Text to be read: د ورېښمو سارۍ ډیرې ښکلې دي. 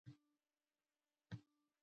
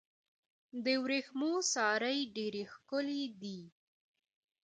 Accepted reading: second